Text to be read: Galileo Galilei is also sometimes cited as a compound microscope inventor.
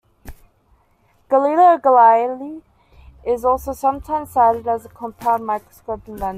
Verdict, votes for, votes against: accepted, 2, 1